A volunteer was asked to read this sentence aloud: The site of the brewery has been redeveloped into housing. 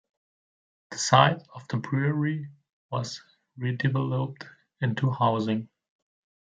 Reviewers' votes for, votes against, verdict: 1, 2, rejected